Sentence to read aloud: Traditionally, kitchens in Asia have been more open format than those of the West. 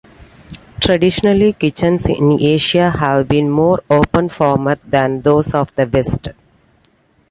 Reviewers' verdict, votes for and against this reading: accepted, 2, 1